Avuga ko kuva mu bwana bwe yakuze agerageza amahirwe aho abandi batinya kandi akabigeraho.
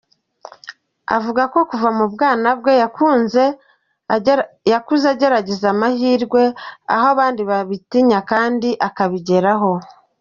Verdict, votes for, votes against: rejected, 0, 3